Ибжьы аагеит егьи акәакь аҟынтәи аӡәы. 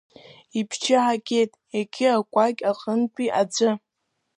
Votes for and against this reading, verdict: 2, 0, accepted